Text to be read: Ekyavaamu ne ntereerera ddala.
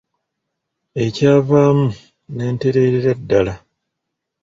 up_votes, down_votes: 2, 0